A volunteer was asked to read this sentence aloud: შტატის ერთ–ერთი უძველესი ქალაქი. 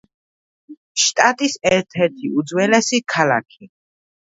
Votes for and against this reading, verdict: 2, 0, accepted